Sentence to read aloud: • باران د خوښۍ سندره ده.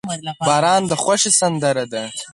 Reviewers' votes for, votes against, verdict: 2, 4, rejected